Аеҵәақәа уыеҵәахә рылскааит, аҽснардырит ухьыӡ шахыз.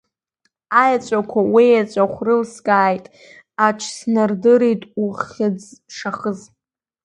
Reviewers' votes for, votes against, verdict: 0, 2, rejected